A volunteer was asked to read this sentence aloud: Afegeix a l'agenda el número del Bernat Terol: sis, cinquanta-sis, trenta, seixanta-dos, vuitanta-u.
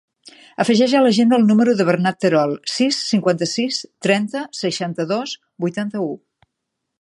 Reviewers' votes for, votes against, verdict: 2, 0, accepted